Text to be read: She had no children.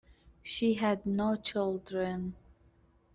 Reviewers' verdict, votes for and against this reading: accepted, 2, 0